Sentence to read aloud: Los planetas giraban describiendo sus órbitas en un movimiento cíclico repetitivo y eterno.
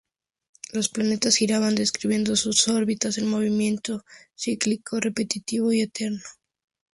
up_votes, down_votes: 2, 0